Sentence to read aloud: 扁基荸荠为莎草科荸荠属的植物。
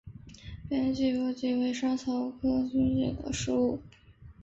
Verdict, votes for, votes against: rejected, 2, 3